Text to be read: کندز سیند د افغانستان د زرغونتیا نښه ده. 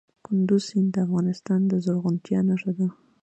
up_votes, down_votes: 2, 0